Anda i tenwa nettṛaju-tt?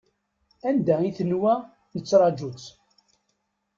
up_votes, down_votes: 2, 1